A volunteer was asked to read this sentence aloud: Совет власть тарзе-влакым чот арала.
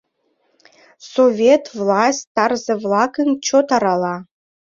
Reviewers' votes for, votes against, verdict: 2, 0, accepted